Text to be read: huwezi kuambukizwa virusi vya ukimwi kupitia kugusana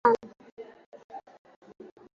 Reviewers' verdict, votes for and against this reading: rejected, 0, 2